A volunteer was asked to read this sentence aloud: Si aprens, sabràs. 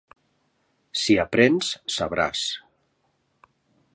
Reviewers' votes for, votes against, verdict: 2, 0, accepted